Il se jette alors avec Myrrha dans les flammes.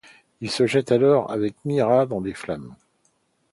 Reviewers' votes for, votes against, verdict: 1, 2, rejected